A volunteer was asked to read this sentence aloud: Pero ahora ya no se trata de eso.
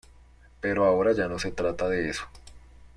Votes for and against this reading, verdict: 2, 0, accepted